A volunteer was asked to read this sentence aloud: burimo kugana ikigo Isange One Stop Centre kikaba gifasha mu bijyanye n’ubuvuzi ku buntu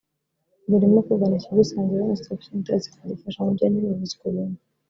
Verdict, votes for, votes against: rejected, 0, 2